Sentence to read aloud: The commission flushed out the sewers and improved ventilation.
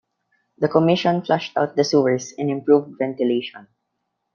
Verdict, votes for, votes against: rejected, 1, 2